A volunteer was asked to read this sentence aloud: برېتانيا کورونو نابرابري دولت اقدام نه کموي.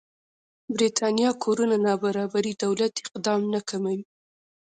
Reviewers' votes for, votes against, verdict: 1, 2, rejected